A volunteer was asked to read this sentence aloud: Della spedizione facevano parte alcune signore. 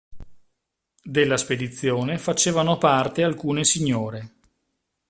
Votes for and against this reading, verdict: 2, 0, accepted